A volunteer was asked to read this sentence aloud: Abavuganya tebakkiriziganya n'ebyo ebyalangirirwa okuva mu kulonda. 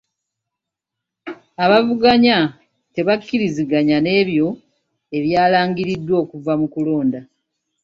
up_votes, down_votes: 1, 2